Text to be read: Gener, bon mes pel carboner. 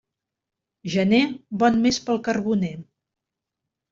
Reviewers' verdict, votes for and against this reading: accepted, 3, 0